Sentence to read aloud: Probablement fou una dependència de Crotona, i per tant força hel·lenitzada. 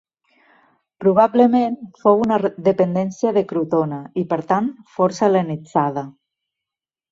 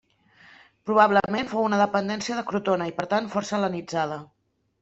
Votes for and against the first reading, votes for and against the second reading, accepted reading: 1, 2, 2, 0, second